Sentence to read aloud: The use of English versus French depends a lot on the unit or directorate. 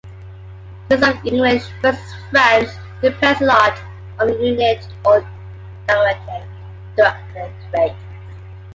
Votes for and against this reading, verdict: 0, 2, rejected